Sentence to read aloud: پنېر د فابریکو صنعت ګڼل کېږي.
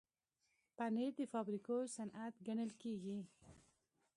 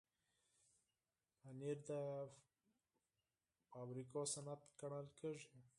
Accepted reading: first